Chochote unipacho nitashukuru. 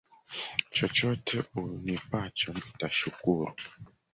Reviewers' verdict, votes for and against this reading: rejected, 1, 3